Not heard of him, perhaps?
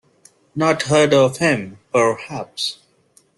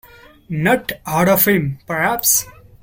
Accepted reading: first